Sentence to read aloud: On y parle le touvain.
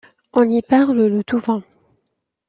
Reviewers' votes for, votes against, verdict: 2, 0, accepted